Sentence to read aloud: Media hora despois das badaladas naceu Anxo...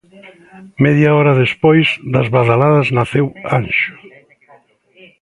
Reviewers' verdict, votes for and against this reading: rejected, 0, 2